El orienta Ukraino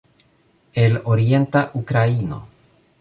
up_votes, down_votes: 2, 0